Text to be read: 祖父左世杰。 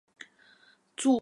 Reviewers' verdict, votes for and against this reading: rejected, 0, 2